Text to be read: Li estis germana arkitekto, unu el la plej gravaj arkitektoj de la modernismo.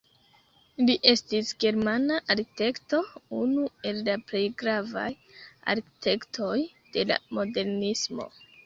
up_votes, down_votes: 0, 2